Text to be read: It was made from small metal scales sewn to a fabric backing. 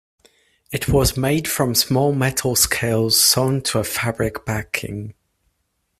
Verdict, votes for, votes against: accepted, 2, 0